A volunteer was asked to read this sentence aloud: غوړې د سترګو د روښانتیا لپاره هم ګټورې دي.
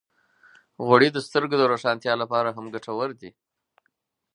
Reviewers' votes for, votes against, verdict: 4, 0, accepted